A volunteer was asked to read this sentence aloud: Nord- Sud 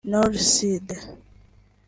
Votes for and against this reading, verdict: 2, 1, accepted